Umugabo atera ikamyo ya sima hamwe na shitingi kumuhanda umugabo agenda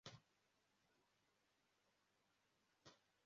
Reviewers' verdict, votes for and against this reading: rejected, 0, 2